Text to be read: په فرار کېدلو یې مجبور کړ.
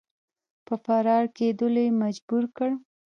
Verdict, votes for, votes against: rejected, 1, 2